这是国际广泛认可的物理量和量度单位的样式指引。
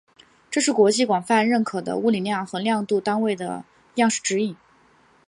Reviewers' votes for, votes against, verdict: 3, 0, accepted